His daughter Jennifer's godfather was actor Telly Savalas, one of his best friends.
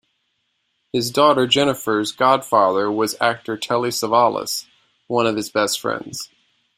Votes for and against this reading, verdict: 2, 0, accepted